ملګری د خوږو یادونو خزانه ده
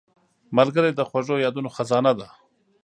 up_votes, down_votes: 2, 0